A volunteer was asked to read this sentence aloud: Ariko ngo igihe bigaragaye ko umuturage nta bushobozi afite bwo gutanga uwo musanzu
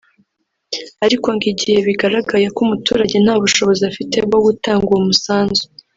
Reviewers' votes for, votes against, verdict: 1, 2, rejected